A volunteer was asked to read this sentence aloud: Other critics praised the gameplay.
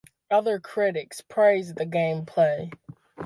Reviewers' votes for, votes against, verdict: 2, 0, accepted